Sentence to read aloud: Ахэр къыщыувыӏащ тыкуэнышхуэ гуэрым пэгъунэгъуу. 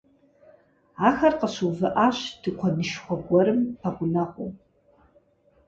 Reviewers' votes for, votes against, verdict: 4, 0, accepted